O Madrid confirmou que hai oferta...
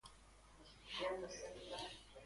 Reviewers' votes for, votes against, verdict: 0, 2, rejected